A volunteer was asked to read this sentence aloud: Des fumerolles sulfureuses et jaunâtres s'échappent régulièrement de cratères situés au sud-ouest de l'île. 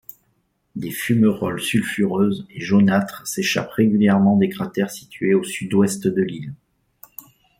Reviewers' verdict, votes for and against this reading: rejected, 1, 2